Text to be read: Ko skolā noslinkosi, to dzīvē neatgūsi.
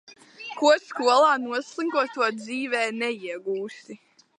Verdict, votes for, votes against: rejected, 0, 3